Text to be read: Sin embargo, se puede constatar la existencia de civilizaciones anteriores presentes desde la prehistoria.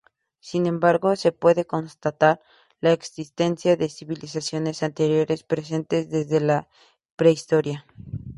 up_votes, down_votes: 4, 0